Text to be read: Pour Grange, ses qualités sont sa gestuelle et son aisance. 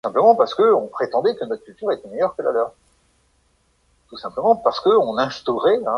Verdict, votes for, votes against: rejected, 0, 3